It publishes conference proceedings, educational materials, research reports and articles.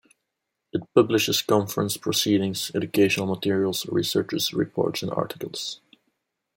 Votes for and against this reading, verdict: 0, 2, rejected